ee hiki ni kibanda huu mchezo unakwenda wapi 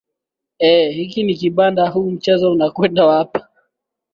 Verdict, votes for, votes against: accepted, 2, 0